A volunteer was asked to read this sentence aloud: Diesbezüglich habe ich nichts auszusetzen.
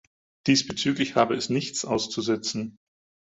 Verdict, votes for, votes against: rejected, 0, 4